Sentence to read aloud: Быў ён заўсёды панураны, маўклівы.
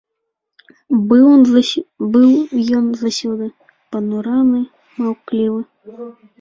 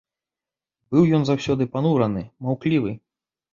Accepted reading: second